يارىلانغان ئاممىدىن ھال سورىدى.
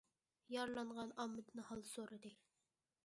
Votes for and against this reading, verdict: 2, 0, accepted